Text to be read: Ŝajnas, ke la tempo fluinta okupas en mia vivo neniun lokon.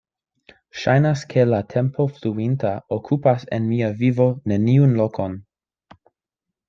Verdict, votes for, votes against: accepted, 2, 0